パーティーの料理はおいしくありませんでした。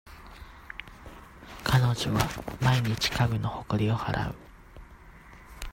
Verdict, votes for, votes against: rejected, 0, 2